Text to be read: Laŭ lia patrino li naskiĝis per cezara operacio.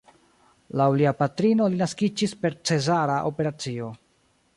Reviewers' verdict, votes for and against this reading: rejected, 0, 2